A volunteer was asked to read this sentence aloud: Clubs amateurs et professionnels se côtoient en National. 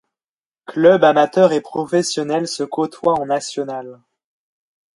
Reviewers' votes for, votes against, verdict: 2, 0, accepted